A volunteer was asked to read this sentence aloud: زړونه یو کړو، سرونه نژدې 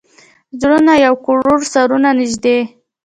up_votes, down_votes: 1, 2